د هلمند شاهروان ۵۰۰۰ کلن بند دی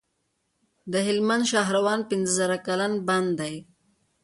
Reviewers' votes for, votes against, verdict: 0, 2, rejected